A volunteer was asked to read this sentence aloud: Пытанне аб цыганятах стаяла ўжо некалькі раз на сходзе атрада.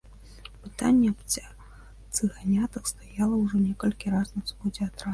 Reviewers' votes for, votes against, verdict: 1, 3, rejected